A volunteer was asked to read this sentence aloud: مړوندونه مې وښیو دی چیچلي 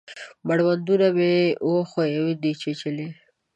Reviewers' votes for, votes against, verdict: 2, 1, accepted